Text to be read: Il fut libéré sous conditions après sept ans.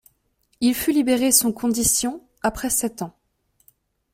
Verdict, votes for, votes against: rejected, 0, 2